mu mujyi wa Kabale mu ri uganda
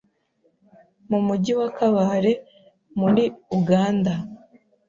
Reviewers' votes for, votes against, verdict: 2, 0, accepted